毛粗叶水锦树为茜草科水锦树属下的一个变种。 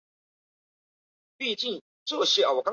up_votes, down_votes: 1, 2